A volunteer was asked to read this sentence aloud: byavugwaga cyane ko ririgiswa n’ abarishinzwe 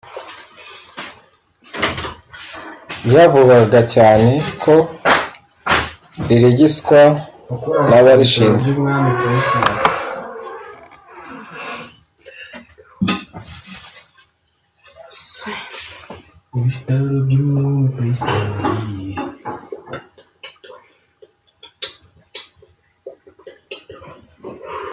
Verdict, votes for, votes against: rejected, 0, 2